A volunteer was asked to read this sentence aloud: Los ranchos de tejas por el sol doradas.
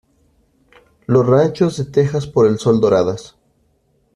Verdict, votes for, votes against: accepted, 2, 0